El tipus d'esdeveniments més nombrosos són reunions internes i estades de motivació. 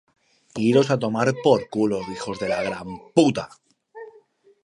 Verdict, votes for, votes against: rejected, 0, 2